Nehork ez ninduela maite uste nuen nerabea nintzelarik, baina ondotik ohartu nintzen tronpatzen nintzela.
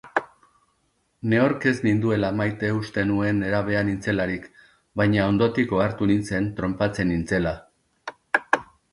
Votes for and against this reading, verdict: 1, 2, rejected